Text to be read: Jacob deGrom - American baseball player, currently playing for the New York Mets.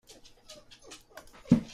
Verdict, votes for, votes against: rejected, 0, 2